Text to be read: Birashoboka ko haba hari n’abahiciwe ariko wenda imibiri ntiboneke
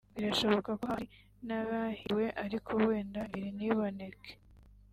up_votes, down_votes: 0, 2